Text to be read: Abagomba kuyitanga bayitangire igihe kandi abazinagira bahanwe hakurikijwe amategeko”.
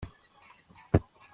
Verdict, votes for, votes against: rejected, 0, 2